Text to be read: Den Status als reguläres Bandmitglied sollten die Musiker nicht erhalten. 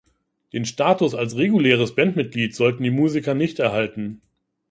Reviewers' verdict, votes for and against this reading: accepted, 3, 0